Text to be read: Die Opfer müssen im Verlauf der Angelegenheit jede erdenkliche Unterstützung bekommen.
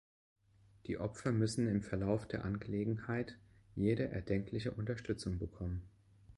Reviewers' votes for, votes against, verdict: 2, 0, accepted